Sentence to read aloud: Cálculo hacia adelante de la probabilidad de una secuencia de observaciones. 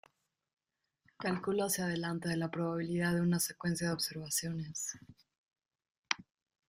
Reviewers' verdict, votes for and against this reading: rejected, 1, 3